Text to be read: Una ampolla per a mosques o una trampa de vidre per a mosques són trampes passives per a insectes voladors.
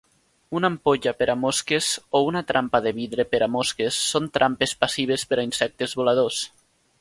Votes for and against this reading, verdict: 2, 0, accepted